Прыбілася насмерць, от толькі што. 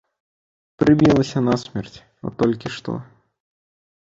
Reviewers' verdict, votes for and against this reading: rejected, 0, 2